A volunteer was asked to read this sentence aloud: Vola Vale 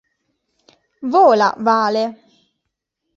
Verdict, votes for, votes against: accepted, 2, 0